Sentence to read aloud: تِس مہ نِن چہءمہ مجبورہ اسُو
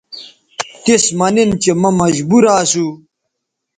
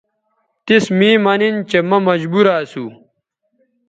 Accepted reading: first